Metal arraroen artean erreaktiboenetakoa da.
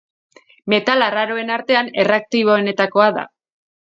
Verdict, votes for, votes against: rejected, 0, 2